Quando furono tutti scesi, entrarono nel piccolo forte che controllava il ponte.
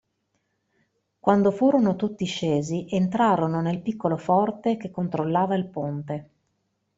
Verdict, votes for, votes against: accepted, 2, 0